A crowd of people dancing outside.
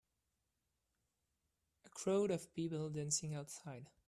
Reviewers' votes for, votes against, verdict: 2, 0, accepted